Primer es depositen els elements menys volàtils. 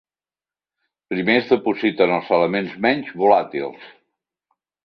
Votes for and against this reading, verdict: 3, 0, accepted